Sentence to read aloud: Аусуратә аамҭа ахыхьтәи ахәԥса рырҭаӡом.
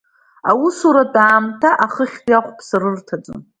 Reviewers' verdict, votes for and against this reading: accepted, 2, 0